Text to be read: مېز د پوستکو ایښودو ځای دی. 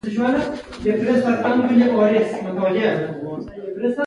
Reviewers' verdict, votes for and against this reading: accepted, 2, 1